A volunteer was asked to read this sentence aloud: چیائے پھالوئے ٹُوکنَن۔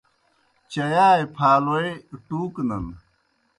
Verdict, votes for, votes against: accepted, 2, 0